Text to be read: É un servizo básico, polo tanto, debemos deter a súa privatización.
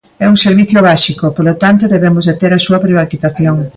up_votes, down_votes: 2, 1